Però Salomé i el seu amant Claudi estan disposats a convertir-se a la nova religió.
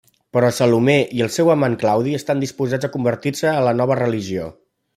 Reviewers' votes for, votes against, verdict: 2, 0, accepted